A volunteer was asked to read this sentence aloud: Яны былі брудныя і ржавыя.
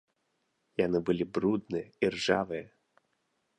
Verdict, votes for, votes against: accepted, 2, 0